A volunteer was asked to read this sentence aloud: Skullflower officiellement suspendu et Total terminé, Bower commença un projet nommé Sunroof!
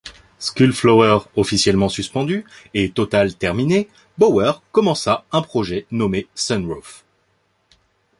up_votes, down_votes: 2, 0